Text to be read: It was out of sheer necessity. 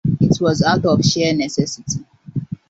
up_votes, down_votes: 2, 1